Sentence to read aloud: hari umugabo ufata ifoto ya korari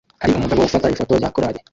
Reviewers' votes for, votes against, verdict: 0, 2, rejected